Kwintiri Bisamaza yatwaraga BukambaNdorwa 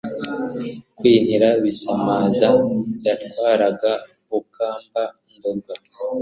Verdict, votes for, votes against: accepted, 2, 0